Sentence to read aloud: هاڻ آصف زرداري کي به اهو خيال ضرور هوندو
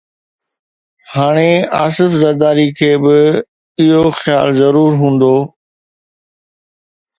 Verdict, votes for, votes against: accepted, 2, 0